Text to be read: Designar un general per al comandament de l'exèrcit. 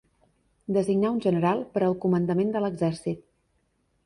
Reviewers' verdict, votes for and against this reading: accepted, 3, 0